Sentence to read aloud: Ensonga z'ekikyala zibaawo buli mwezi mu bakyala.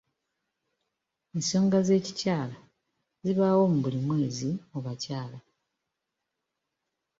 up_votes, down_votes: 2, 1